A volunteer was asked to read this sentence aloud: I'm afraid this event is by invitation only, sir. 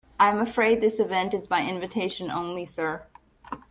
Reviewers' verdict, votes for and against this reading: accepted, 2, 0